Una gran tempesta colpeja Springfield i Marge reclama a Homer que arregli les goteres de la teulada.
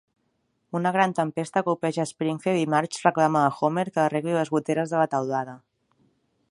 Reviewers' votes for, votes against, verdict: 1, 2, rejected